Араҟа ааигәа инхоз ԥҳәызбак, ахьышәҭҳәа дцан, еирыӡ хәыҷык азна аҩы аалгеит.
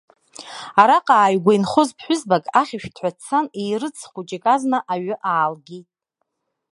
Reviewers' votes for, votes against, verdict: 2, 1, accepted